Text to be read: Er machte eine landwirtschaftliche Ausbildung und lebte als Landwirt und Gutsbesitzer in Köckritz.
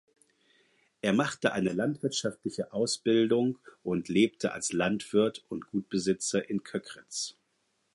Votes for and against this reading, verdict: 0, 4, rejected